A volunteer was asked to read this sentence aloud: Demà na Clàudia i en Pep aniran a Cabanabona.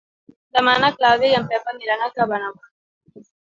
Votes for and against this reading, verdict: 1, 2, rejected